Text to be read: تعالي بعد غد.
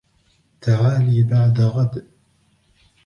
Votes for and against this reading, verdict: 1, 2, rejected